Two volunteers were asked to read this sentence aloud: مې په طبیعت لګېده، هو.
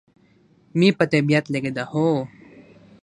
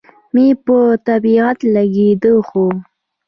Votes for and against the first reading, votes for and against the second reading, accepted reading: 3, 0, 0, 2, first